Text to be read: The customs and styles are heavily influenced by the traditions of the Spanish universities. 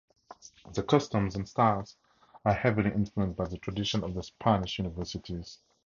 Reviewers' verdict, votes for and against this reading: rejected, 0, 2